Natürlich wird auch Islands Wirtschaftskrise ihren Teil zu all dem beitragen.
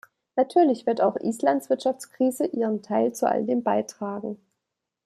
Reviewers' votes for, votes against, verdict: 2, 0, accepted